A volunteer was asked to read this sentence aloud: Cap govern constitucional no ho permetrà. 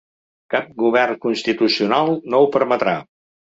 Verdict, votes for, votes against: accepted, 3, 0